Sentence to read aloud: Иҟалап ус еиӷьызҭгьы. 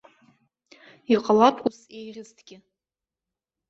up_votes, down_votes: 0, 2